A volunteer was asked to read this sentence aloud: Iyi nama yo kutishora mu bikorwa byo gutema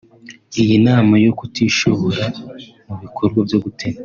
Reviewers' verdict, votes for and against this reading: rejected, 0, 2